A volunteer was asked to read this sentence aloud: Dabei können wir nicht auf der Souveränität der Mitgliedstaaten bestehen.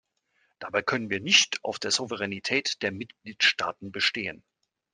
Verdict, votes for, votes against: accepted, 3, 0